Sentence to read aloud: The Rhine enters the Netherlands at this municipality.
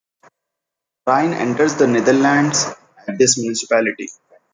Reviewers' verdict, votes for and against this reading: rejected, 0, 2